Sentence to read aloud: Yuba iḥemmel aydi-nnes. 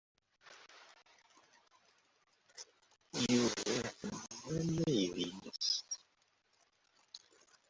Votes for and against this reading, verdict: 0, 2, rejected